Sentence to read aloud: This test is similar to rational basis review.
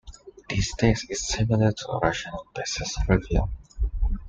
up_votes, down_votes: 2, 0